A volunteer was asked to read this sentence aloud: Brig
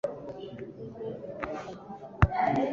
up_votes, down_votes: 0, 2